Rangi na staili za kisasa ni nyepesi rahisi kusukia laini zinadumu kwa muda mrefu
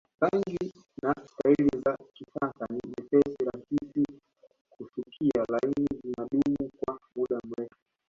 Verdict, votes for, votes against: rejected, 1, 2